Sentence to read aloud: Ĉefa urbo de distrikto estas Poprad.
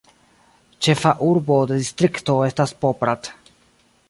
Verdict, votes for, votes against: rejected, 0, 2